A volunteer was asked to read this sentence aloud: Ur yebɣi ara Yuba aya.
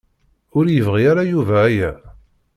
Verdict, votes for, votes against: accepted, 2, 0